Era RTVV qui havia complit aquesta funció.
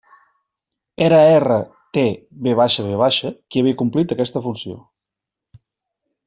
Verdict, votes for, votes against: accepted, 2, 1